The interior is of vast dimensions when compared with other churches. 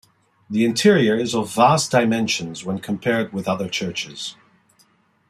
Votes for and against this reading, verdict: 2, 0, accepted